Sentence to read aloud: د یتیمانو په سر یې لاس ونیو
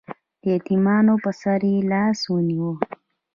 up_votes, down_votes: 0, 2